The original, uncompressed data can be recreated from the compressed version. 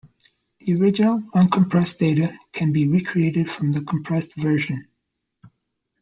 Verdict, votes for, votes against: accepted, 2, 0